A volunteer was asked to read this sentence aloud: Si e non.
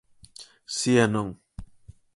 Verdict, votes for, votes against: accepted, 4, 0